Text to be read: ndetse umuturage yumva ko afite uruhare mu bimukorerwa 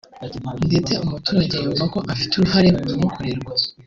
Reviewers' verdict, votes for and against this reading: accepted, 2, 0